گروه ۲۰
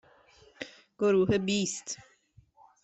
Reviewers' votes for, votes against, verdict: 0, 2, rejected